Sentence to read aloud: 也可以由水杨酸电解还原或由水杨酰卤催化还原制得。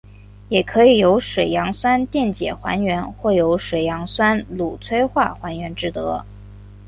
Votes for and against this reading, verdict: 2, 1, accepted